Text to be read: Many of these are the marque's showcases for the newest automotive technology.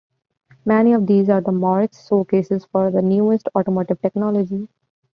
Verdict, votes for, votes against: accepted, 2, 0